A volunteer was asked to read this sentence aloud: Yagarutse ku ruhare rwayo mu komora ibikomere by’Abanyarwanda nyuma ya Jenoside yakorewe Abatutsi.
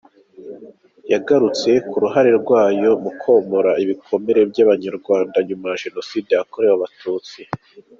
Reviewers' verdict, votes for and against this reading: rejected, 0, 2